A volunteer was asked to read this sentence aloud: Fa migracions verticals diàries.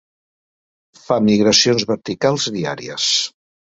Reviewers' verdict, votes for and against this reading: accepted, 3, 0